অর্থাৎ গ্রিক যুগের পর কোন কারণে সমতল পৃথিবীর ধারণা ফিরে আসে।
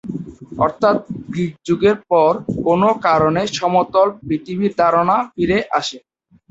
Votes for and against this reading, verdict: 0, 2, rejected